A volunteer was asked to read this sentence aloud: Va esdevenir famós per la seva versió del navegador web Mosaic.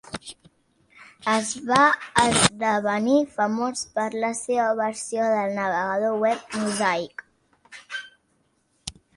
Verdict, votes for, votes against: rejected, 1, 2